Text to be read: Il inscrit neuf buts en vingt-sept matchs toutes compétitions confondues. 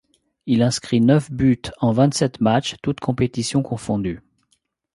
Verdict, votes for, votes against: accepted, 2, 0